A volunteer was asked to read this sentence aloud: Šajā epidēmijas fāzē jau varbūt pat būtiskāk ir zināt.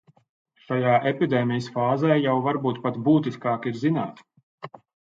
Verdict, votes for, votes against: accepted, 3, 0